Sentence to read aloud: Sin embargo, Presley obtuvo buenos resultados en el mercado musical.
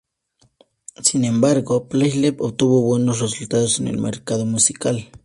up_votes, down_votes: 2, 0